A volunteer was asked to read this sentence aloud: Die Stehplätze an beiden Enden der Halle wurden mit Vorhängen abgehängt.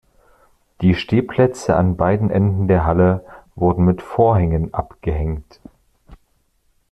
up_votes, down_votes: 2, 0